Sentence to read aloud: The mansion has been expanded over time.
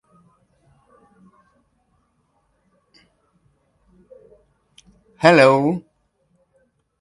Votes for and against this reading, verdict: 0, 2, rejected